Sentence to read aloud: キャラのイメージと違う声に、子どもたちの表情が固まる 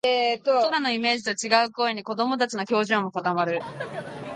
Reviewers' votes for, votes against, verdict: 2, 0, accepted